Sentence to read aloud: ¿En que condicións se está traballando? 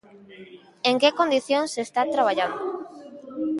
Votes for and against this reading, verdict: 1, 2, rejected